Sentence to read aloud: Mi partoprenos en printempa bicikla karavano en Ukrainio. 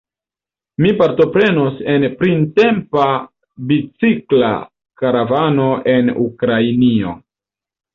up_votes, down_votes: 1, 2